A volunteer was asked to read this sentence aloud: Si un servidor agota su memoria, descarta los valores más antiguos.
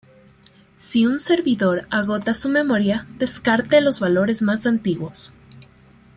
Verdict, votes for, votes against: rejected, 1, 2